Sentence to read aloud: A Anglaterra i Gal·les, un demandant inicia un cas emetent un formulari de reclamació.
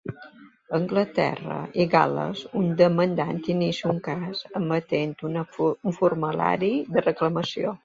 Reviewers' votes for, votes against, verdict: 2, 0, accepted